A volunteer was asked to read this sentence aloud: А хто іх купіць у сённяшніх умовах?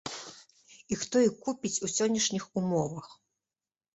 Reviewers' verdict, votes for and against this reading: rejected, 0, 2